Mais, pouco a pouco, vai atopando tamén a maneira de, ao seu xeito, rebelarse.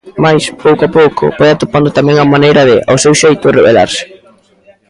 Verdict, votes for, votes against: accepted, 2, 0